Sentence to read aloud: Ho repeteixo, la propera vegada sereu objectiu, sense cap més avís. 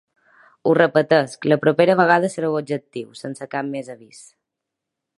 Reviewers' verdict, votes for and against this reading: accepted, 2, 0